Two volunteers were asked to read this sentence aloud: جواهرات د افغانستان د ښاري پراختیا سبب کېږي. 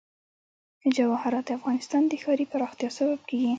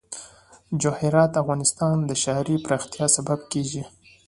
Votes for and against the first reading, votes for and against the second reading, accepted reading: 2, 3, 2, 0, second